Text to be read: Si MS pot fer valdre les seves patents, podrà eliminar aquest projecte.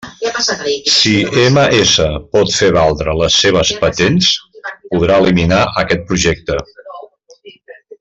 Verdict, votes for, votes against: rejected, 1, 2